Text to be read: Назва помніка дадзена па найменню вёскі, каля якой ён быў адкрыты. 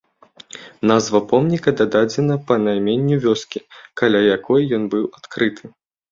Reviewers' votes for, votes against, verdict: 1, 2, rejected